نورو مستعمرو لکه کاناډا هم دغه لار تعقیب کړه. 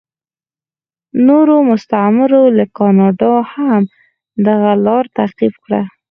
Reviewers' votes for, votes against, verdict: 2, 4, rejected